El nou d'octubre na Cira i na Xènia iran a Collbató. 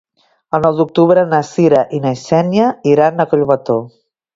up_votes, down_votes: 2, 0